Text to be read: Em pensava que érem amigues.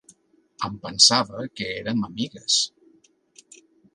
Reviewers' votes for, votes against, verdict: 2, 0, accepted